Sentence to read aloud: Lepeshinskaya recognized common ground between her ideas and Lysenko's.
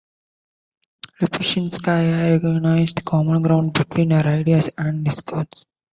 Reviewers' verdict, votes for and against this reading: rejected, 0, 2